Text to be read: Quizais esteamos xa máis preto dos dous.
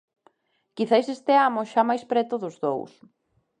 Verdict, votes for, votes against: accepted, 2, 0